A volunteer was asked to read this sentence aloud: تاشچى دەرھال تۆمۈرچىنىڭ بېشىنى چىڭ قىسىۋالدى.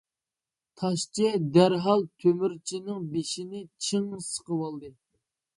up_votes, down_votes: 0, 2